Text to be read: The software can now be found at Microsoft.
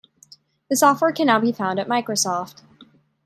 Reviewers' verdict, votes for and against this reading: accepted, 2, 0